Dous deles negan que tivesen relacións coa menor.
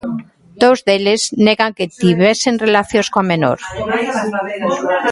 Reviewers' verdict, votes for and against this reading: rejected, 1, 3